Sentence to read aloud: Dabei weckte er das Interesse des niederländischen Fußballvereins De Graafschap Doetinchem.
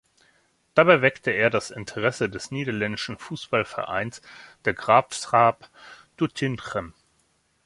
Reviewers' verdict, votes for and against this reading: rejected, 1, 2